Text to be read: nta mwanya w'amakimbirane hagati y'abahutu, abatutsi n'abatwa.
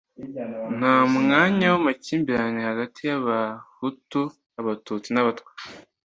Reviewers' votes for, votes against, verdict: 2, 0, accepted